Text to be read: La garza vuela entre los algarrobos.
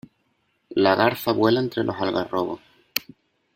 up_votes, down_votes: 2, 0